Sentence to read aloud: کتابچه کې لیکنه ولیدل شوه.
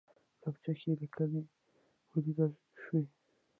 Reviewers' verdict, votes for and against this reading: rejected, 0, 2